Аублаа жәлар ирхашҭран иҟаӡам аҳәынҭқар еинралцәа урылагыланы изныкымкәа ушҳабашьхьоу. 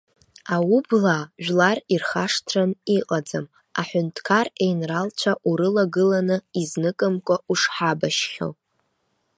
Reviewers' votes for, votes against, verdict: 2, 0, accepted